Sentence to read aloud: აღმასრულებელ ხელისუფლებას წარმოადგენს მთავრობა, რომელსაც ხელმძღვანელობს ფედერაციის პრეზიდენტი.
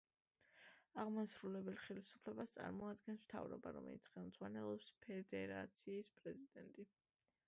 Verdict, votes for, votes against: rejected, 1, 2